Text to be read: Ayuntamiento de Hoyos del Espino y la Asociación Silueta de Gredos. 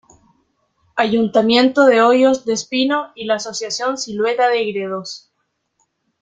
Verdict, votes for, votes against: rejected, 1, 2